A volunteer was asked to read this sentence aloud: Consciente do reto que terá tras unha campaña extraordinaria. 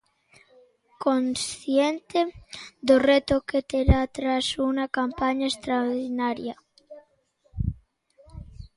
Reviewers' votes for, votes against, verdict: 0, 2, rejected